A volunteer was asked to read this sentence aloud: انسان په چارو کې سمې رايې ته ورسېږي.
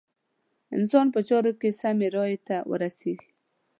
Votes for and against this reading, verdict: 2, 0, accepted